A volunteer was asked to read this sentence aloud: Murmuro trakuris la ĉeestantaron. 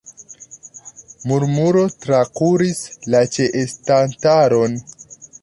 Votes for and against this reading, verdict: 0, 2, rejected